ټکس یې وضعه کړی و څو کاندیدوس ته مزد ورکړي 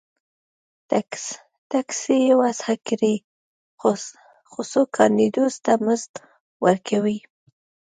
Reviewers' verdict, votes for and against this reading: rejected, 0, 2